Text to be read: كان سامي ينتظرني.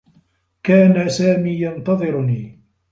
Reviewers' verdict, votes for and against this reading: accepted, 2, 0